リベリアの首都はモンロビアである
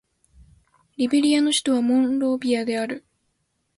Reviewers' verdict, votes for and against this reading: accepted, 2, 0